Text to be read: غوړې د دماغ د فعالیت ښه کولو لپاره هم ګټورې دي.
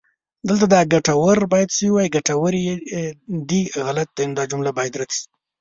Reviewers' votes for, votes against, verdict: 0, 2, rejected